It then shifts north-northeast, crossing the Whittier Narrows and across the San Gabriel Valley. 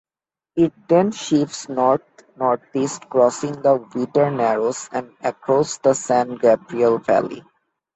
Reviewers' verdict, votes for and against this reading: accepted, 2, 0